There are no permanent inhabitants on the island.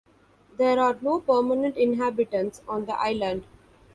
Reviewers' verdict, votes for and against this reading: rejected, 1, 2